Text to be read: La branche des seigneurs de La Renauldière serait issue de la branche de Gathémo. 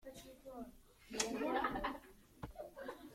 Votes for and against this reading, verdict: 0, 2, rejected